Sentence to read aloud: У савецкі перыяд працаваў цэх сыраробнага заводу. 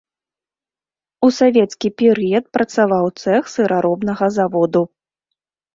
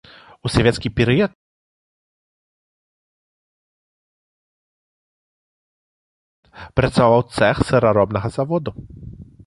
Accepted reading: first